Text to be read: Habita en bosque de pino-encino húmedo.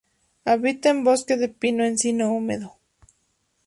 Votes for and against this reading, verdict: 2, 0, accepted